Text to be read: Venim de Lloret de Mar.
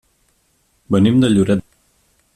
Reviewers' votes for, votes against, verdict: 1, 2, rejected